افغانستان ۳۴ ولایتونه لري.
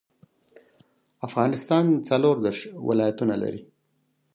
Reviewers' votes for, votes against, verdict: 0, 2, rejected